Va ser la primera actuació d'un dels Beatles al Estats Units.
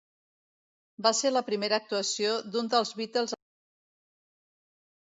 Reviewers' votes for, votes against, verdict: 1, 2, rejected